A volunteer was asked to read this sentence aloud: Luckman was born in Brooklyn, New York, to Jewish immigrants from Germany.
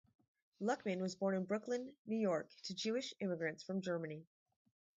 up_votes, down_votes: 4, 0